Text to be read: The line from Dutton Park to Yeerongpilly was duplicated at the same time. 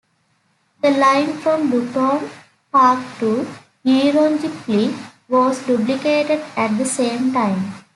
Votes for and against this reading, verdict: 1, 2, rejected